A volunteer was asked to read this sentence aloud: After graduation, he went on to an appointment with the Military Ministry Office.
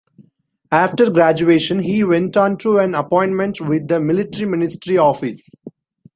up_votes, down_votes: 2, 0